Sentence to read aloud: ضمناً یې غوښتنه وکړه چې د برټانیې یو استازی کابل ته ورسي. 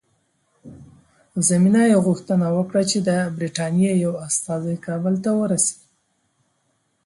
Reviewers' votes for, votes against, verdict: 1, 2, rejected